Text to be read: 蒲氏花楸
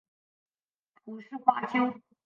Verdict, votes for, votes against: rejected, 2, 3